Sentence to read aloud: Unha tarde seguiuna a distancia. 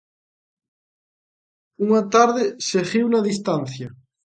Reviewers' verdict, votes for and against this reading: accepted, 2, 0